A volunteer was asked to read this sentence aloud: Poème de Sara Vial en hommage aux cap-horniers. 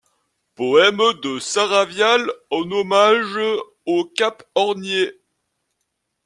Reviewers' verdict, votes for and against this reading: rejected, 1, 2